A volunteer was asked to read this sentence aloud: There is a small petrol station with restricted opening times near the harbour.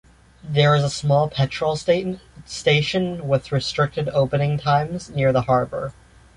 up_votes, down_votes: 0, 2